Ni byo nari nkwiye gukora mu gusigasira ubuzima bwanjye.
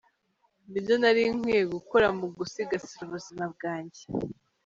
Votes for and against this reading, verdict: 1, 2, rejected